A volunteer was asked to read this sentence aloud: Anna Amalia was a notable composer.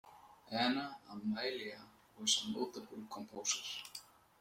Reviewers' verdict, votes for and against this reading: rejected, 1, 2